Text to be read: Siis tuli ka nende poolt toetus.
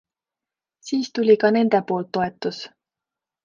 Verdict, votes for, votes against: accepted, 2, 0